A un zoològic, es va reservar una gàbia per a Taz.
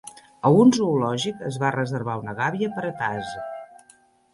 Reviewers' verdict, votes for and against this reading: accepted, 2, 0